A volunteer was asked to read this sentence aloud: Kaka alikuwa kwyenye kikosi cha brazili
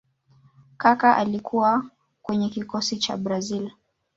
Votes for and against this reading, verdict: 1, 2, rejected